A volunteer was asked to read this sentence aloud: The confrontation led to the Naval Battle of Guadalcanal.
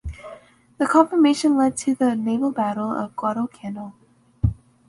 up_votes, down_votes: 3, 0